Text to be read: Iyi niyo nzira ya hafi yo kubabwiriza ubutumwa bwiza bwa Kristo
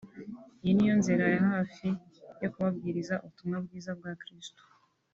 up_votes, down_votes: 2, 0